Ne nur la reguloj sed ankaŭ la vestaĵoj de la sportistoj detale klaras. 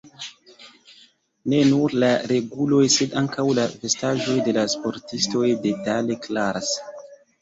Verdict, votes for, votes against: rejected, 0, 2